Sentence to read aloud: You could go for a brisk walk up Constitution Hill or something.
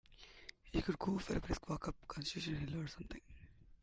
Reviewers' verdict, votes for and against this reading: accepted, 2, 0